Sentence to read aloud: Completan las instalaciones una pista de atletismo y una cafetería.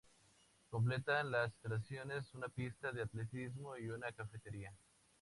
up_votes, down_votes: 2, 0